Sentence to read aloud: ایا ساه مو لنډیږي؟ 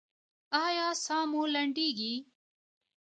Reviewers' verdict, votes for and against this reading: accepted, 2, 1